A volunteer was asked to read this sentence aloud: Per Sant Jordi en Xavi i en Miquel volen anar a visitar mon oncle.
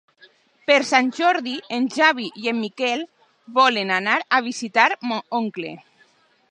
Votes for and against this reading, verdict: 2, 3, rejected